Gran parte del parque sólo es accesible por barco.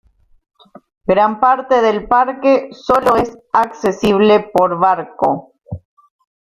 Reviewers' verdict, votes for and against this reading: rejected, 1, 2